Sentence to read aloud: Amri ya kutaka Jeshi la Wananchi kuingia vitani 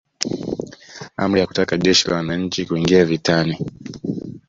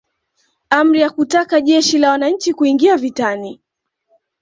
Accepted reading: second